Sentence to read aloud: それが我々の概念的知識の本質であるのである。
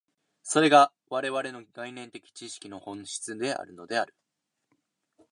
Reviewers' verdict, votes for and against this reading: accepted, 2, 0